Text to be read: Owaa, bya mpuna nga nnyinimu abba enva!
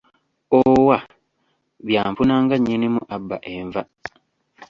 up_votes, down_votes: 1, 2